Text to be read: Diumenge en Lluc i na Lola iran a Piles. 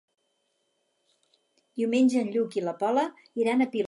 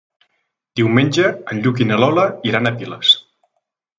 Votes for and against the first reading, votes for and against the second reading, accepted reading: 2, 4, 4, 0, second